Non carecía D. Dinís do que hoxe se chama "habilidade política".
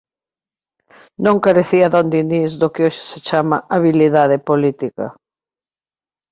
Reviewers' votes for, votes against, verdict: 2, 0, accepted